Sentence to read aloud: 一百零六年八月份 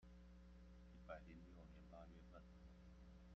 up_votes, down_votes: 0, 2